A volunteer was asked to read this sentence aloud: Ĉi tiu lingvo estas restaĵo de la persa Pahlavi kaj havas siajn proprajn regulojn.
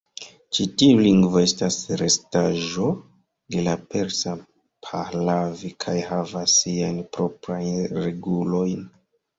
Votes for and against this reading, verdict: 2, 1, accepted